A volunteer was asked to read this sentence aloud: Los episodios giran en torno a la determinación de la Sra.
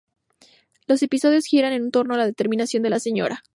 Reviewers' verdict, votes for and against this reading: accepted, 2, 0